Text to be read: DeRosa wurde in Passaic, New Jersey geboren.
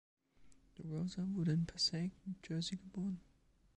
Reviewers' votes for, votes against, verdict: 2, 0, accepted